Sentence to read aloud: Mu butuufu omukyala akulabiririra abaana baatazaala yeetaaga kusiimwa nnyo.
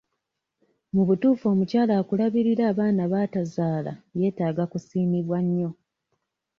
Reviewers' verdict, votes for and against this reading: accepted, 2, 0